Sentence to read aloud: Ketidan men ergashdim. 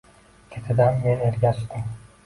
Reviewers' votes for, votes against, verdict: 2, 1, accepted